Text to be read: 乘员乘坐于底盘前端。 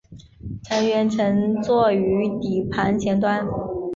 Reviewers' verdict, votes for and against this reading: accepted, 3, 1